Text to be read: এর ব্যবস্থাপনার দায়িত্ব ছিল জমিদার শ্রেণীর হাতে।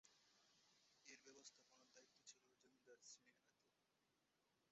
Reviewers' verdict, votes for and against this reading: rejected, 0, 3